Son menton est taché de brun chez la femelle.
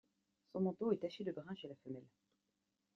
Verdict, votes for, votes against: rejected, 1, 2